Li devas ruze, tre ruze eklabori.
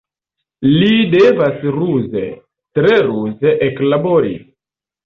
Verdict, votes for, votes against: accepted, 2, 1